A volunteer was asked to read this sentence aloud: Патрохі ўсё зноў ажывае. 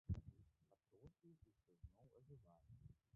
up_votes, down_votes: 0, 2